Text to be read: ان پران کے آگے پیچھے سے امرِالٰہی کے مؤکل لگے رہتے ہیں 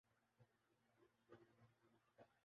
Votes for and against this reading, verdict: 0, 5, rejected